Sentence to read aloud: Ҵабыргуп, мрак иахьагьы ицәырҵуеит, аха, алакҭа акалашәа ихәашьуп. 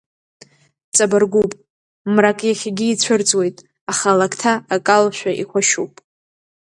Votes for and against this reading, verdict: 2, 0, accepted